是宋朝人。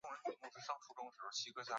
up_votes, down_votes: 1, 2